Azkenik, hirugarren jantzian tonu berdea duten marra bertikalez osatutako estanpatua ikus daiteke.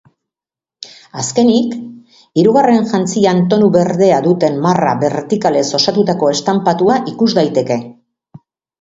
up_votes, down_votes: 3, 0